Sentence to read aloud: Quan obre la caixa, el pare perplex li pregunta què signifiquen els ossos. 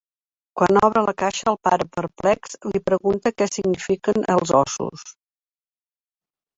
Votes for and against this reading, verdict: 1, 2, rejected